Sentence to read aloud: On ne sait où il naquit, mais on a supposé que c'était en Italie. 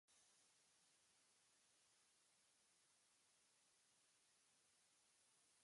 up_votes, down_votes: 1, 2